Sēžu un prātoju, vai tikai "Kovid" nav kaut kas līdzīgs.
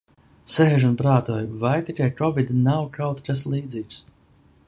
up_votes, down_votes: 2, 0